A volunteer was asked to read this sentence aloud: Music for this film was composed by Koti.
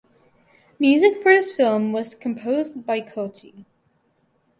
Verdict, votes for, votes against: accepted, 8, 0